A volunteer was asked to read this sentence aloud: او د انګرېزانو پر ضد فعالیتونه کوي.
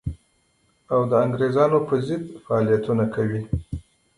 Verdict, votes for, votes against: accepted, 3, 2